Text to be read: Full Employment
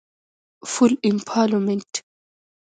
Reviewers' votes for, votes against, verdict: 2, 0, accepted